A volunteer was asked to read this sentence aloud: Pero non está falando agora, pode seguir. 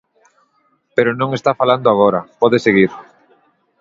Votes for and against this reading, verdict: 3, 1, accepted